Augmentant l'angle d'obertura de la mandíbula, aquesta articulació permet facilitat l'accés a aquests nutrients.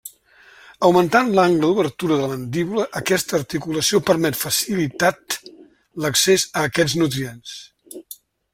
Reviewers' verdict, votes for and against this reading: accepted, 2, 0